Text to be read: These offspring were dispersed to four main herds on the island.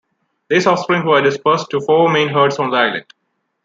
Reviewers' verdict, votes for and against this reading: rejected, 1, 2